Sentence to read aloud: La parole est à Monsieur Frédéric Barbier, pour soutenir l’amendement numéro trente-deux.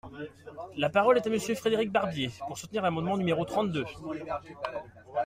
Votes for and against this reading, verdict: 2, 0, accepted